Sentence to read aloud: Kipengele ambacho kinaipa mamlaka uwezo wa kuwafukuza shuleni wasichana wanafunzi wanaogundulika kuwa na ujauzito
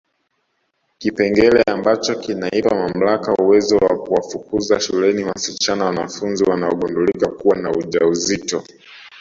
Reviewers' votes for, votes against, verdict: 2, 0, accepted